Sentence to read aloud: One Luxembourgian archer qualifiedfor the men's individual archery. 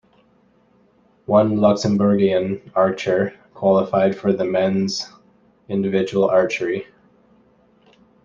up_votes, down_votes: 2, 0